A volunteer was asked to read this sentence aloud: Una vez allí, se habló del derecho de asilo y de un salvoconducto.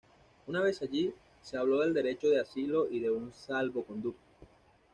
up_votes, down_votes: 2, 0